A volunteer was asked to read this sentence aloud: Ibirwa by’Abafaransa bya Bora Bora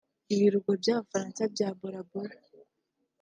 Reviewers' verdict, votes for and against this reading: accepted, 2, 1